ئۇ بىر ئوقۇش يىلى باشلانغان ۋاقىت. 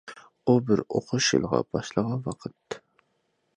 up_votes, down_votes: 0, 2